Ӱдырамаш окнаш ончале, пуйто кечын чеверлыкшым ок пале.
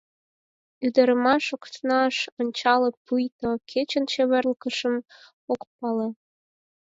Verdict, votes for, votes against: rejected, 4, 8